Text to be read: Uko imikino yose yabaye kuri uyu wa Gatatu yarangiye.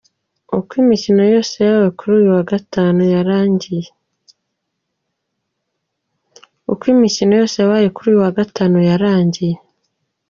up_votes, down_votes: 2, 1